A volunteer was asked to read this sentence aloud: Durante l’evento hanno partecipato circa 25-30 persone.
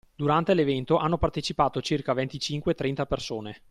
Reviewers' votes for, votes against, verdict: 0, 2, rejected